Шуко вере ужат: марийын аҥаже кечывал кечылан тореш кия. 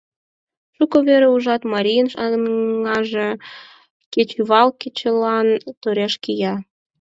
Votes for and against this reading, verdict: 4, 2, accepted